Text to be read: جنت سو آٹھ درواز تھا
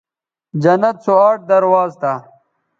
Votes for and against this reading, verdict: 2, 0, accepted